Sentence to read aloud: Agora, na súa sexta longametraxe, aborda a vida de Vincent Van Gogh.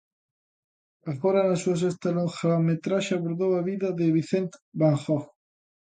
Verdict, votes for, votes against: rejected, 0, 2